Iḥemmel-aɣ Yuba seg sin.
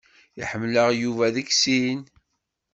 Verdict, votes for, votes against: rejected, 1, 2